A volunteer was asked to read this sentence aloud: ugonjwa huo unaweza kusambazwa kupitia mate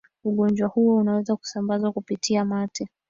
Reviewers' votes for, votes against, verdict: 2, 1, accepted